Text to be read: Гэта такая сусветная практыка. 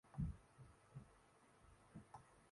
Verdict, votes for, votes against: rejected, 0, 3